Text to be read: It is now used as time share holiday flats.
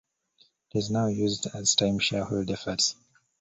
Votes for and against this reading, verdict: 1, 2, rejected